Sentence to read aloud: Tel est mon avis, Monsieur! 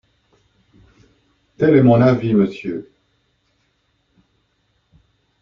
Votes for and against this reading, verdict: 2, 0, accepted